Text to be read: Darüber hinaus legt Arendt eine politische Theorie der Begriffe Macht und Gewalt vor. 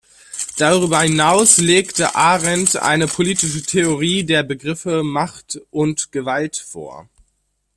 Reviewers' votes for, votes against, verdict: 1, 2, rejected